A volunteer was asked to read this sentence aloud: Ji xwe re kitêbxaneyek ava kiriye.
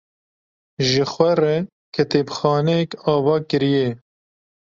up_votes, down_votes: 2, 0